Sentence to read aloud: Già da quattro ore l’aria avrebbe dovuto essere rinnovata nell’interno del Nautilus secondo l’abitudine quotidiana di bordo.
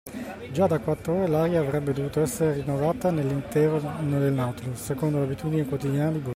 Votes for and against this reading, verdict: 0, 2, rejected